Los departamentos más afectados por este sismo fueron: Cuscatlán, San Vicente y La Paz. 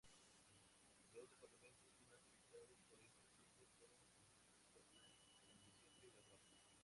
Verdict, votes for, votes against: rejected, 0, 2